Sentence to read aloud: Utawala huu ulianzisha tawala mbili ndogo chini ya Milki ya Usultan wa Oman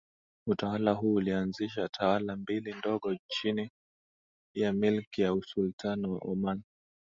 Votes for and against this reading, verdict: 2, 0, accepted